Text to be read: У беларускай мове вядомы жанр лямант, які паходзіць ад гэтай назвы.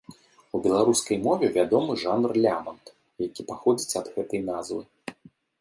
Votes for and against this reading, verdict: 2, 0, accepted